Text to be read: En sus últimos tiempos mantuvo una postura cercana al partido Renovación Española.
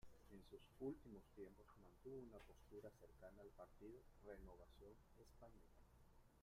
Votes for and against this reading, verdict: 1, 2, rejected